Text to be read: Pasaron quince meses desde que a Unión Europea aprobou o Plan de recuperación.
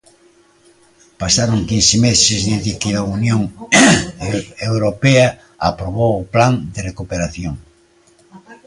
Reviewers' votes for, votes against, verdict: 0, 2, rejected